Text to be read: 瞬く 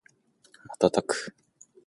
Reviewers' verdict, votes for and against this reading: accepted, 2, 0